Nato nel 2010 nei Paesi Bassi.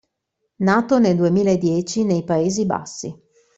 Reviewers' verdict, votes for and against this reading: rejected, 0, 2